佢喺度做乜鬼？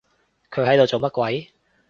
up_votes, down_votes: 2, 0